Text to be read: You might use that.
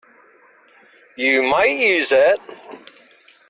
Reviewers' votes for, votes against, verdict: 2, 0, accepted